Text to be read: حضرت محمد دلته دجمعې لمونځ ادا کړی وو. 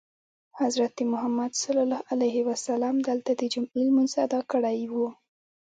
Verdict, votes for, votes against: rejected, 0, 2